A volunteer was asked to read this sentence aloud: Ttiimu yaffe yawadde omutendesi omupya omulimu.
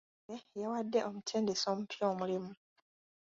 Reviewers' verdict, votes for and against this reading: accepted, 2, 0